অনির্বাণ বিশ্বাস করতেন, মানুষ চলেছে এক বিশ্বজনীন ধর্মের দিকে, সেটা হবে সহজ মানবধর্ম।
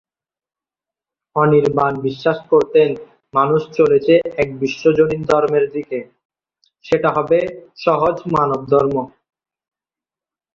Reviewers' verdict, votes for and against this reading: rejected, 0, 4